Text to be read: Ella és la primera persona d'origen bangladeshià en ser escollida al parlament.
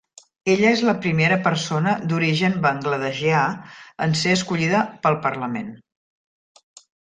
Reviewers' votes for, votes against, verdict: 1, 2, rejected